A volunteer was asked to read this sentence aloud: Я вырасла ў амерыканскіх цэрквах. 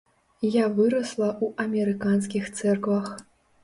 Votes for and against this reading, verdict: 2, 1, accepted